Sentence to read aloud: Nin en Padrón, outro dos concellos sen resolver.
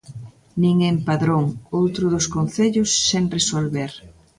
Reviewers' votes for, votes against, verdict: 2, 0, accepted